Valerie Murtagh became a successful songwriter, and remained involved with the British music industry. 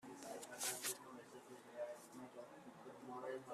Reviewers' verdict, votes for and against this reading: rejected, 0, 2